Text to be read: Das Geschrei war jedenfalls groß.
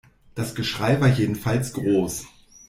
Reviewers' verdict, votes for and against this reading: accepted, 2, 0